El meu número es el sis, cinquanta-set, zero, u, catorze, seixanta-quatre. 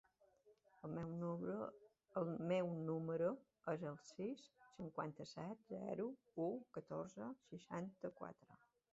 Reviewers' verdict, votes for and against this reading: accepted, 2, 1